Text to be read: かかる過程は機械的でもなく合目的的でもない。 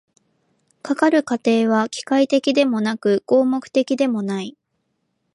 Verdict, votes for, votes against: rejected, 0, 2